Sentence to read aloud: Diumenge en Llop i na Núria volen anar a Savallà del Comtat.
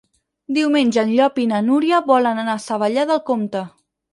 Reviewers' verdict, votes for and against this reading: rejected, 2, 6